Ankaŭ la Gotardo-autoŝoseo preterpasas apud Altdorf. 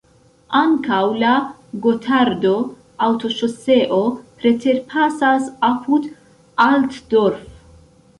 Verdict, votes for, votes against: accepted, 2, 0